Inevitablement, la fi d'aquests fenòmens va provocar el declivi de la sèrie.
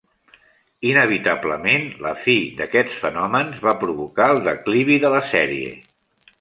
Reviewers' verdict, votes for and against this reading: accepted, 3, 0